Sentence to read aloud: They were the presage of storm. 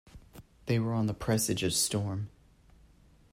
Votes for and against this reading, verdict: 1, 2, rejected